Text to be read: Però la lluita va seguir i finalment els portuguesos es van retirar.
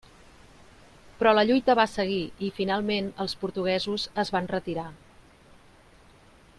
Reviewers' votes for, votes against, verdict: 3, 0, accepted